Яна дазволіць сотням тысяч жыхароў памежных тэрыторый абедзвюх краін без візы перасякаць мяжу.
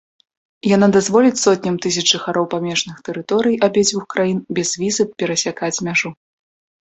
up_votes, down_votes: 2, 0